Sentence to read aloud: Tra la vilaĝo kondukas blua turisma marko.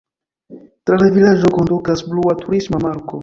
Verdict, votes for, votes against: rejected, 1, 2